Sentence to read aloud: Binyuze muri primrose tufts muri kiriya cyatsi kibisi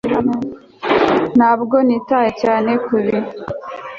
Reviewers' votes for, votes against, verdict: 0, 2, rejected